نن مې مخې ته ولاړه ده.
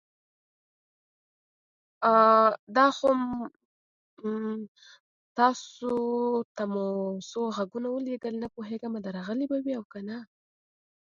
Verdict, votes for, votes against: rejected, 0, 2